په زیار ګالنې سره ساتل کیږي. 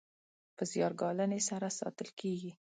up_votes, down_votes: 2, 0